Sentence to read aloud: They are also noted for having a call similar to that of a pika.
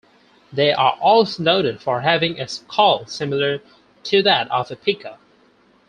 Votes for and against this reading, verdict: 2, 4, rejected